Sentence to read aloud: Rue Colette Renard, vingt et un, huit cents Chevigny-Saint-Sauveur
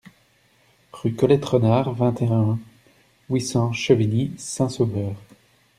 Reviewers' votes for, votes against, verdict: 2, 0, accepted